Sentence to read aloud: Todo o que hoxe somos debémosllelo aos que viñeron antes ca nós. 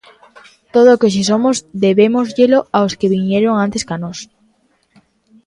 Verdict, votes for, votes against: accepted, 2, 0